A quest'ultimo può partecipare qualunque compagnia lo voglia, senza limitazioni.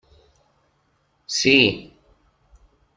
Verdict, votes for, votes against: rejected, 0, 2